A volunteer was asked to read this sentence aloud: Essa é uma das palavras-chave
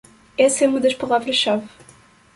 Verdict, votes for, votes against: accepted, 2, 0